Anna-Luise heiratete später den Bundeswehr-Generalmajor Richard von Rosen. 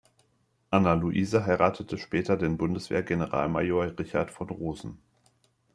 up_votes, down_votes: 2, 0